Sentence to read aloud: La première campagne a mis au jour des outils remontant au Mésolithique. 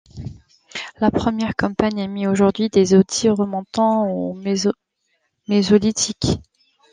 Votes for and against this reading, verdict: 2, 3, rejected